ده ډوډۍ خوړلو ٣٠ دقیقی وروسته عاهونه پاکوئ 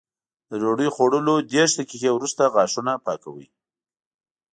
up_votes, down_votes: 0, 2